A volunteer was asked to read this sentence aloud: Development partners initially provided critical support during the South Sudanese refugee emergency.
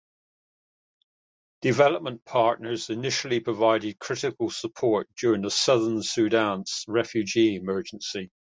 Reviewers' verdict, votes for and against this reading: rejected, 0, 2